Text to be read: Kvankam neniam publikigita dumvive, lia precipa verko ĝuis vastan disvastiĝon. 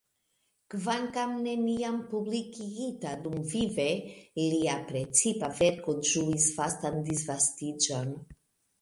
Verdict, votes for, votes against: accepted, 2, 0